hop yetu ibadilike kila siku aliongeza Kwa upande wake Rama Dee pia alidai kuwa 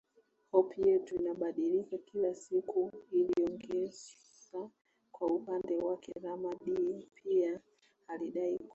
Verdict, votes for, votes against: rejected, 0, 2